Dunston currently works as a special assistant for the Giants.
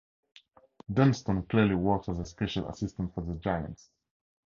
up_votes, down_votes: 2, 2